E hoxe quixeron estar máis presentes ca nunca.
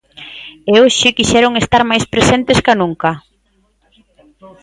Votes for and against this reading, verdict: 1, 2, rejected